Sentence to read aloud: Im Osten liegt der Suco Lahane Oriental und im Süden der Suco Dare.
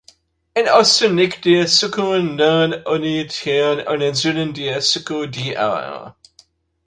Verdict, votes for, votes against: rejected, 0, 2